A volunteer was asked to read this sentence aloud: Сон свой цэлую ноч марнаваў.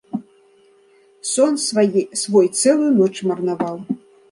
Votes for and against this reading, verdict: 0, 2, rejected